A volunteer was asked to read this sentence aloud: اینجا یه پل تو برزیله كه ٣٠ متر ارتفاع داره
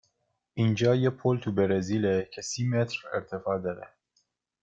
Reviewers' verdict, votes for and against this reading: rejected, 0, 2